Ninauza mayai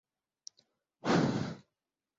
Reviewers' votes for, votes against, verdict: 1, 6, rejected